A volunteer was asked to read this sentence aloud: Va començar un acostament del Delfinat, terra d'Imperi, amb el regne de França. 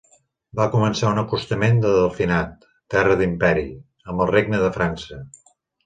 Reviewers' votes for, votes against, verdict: 2, 0, accepted